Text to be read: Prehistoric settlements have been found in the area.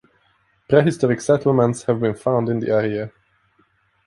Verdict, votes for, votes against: accepted, 2, 0